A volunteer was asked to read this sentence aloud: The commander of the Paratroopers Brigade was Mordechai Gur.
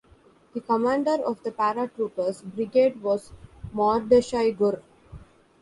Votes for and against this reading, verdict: 0, 2, rejected